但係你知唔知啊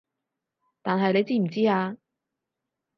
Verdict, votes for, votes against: accepted, 6, 0